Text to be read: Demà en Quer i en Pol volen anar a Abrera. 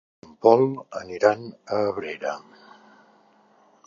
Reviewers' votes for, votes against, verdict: 0, 2, rejected